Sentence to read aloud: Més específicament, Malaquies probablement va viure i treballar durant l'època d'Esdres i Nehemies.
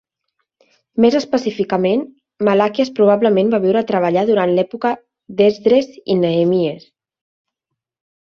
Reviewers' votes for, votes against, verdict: 2, 1, accepted